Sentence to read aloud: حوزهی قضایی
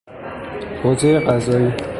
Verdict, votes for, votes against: rejected, 0, 3